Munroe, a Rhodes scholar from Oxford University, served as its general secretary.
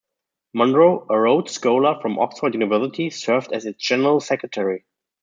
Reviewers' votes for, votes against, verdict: 1, 2, rejected